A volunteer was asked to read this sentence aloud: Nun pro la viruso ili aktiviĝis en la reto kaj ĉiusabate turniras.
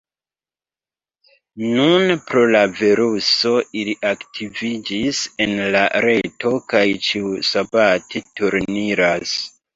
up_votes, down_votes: 2, 1